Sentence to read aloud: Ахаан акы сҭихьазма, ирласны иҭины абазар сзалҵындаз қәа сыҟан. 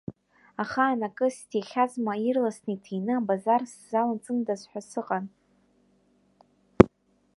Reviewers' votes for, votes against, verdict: 2, 1, accepted